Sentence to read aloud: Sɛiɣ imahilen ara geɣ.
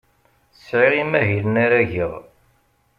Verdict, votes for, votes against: accepted, 2, 0